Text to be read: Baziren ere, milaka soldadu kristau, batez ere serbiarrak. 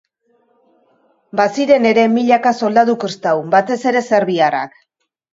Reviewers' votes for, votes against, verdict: 1, 2, rejected